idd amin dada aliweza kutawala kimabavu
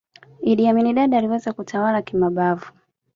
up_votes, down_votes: 2, 0